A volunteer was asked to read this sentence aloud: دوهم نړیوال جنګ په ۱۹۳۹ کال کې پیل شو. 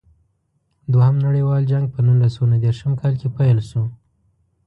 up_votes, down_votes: 0, 2